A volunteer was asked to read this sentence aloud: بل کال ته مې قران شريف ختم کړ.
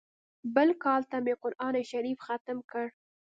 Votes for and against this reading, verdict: 2, 0, accepted